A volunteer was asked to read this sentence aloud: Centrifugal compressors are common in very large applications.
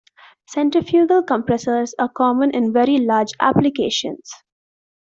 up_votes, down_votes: 2, 0